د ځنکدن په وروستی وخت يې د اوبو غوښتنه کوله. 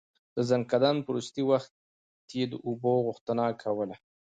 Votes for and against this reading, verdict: 2, 0, accepted